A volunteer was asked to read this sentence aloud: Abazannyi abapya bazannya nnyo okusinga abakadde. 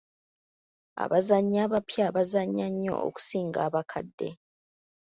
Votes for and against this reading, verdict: 2, 0, accepted